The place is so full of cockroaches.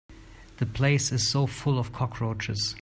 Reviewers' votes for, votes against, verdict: 2, 0, accepted